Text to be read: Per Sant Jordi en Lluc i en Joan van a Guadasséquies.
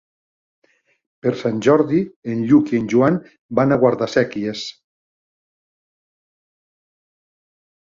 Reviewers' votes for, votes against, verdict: 1, 2, rejected